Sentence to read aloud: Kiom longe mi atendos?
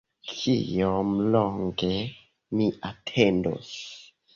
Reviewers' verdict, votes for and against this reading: accepted, 2, 0